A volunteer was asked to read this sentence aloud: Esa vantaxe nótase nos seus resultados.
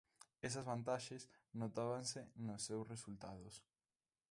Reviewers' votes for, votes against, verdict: 0, 2, rejected